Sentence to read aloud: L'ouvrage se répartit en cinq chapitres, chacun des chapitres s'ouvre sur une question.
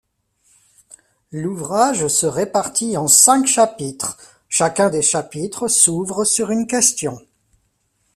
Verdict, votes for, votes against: rejected, 1, 2